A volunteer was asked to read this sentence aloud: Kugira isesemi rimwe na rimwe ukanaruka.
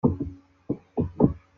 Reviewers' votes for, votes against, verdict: 0, 2, rejected